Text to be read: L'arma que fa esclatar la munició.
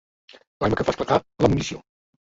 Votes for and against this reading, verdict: 0, 2, rejected